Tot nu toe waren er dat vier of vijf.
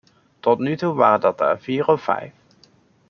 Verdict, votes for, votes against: rejected, 0, 2